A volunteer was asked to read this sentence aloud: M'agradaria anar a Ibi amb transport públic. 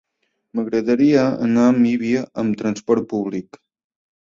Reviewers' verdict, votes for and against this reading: rejected, 1, 2